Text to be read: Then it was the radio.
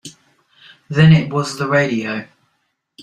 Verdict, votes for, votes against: accepted, 3, 0